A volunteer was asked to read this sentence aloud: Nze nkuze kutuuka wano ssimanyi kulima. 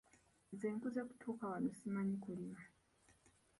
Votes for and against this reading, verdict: 0, 2, rejected